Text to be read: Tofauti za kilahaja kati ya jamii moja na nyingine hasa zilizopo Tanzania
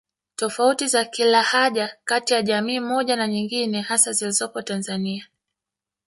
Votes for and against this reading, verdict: 1, 2, rejected